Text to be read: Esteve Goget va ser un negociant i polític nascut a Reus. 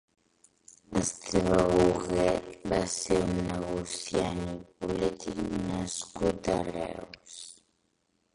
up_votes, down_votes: 0, 3